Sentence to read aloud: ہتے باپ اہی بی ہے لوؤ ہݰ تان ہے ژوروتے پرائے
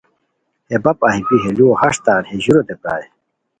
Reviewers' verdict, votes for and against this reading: accepted, 2, 0